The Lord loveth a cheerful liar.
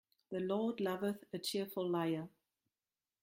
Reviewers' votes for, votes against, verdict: 2, 1, accepted